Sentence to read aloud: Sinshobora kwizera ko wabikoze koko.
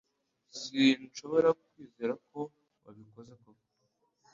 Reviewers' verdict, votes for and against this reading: accepted, 2, 0